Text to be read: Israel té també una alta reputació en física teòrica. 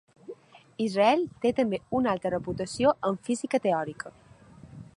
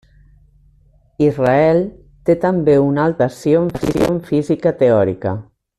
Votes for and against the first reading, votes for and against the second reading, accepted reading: 2, 0, 0, 2, first